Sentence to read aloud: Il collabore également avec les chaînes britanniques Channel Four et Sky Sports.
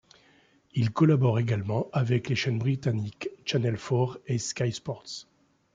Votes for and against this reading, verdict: 2, 0, accepted